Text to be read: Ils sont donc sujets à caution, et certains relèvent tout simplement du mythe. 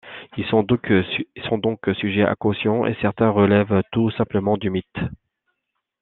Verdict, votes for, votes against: rejected, 0, 2